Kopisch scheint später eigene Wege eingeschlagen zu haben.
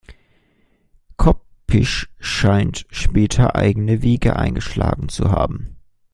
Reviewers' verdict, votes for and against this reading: rejected, 1, 2